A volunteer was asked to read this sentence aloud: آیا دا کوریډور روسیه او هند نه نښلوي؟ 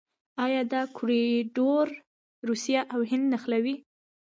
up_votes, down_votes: 2, 0